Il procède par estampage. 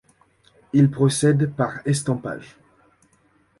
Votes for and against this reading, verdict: 2, 0, accepted